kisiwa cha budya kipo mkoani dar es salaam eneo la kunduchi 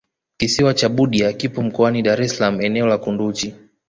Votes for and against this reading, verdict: 2, 1, accepted